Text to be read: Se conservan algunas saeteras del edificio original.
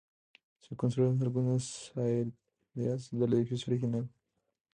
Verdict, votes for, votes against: rejected, 0, 2